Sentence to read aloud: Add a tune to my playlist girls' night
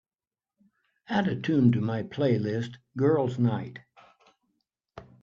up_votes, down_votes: 4, 0